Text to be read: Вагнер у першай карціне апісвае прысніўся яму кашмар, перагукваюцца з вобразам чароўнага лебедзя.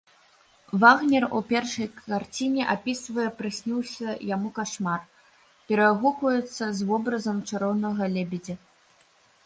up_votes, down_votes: 1, 2